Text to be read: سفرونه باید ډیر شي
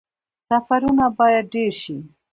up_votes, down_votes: 1, 2